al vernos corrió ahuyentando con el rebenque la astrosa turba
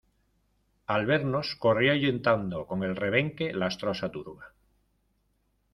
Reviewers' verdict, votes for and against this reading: rejected, 0, 2